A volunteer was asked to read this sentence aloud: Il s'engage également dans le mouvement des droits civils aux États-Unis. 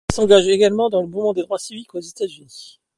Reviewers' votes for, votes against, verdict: 2, 1, accepted